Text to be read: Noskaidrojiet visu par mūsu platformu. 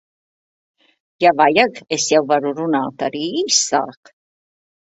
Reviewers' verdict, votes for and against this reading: rejected, 0, 2